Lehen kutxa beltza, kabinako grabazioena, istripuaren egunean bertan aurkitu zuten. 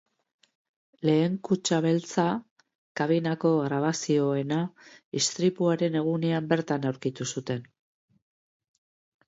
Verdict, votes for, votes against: accepted, 2, 0